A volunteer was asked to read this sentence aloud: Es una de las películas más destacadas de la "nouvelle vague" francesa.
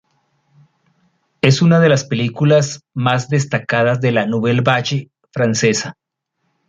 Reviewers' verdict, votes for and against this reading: accepted, 2, 0